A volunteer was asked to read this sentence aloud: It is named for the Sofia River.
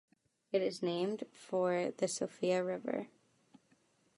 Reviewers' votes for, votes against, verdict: 1, 2, rejected